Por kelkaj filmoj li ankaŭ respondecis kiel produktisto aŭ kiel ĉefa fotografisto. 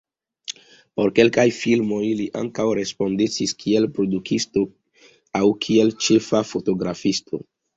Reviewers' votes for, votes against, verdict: 2, 0, accepted